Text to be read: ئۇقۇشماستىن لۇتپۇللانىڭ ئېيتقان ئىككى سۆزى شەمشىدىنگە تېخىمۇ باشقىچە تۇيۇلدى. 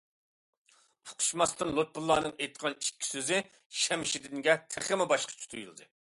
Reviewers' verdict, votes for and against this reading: accepted, 2, 0